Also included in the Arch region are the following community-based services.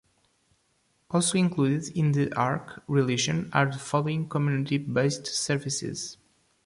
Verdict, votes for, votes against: rejected, 0, 2